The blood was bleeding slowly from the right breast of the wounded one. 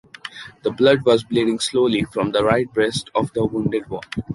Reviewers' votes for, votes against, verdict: 2, 0, accepted